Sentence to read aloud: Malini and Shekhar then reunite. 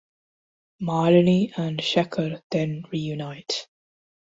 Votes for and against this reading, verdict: 2, 0, accepted